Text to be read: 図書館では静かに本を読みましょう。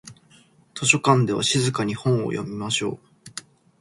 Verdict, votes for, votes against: accepted, 2, 1